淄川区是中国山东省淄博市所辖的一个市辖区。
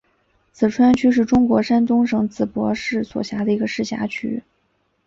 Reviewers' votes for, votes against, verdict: 2, 0, accepted